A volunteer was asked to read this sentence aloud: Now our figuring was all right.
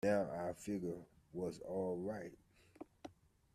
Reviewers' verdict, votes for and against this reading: rejected, 1, 2